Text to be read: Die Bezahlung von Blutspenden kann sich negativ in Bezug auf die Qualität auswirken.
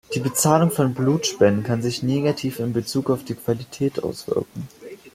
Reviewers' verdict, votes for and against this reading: accepted, 2, 1